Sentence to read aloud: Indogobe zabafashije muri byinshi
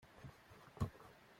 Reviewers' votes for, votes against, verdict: 0, 2, rejected